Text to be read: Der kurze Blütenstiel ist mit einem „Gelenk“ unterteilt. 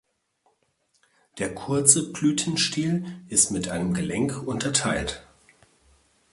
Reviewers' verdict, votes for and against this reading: rejected, 1, 2